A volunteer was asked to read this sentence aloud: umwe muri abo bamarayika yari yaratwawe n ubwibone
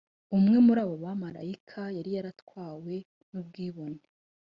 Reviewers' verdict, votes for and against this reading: rejected, 1, 2